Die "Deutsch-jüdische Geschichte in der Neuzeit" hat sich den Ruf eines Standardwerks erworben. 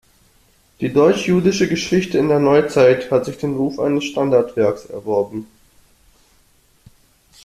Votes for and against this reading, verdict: 2, 0, accepted